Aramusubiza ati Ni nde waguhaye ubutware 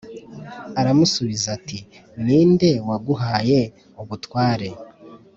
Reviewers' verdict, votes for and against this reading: accepted, 3, 0